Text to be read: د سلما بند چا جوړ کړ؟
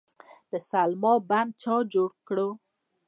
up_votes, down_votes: 2, 0